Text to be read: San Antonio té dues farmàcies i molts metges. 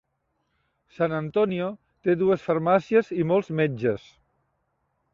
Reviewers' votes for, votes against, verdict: 3, 0, accepted